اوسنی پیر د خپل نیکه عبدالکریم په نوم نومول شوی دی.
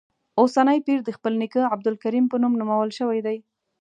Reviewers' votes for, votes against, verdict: 2, 0, accepted